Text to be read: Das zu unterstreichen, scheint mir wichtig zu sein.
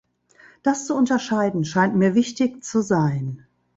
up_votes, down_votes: 2, 3